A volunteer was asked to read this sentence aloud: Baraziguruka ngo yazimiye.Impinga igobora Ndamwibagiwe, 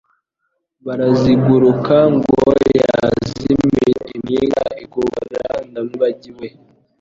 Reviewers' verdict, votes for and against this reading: accepted, 3, 0